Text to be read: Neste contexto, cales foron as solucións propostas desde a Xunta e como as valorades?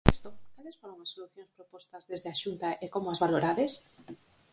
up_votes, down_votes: 0, 4